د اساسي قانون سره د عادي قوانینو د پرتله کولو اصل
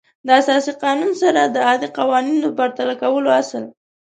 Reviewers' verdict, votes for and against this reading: accepted, 2, 0